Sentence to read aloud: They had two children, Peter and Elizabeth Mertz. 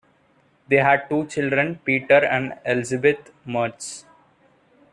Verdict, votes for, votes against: accepted, 2, 0